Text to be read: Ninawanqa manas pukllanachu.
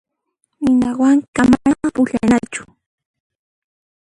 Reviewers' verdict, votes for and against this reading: rejected, 1, 2